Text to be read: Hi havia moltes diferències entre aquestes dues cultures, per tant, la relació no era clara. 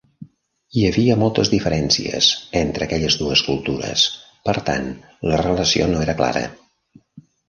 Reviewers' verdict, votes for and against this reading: rejected, 1, 2